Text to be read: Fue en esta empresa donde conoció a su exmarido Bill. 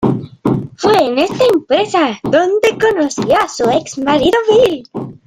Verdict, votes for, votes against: rejected, 0, 2